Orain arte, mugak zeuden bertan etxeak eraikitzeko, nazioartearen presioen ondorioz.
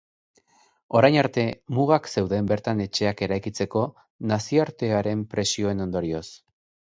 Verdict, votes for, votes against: accepted, 5, 0